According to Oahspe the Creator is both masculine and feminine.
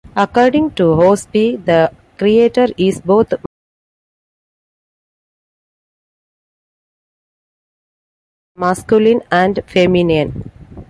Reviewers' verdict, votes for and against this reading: rejected, 0, 2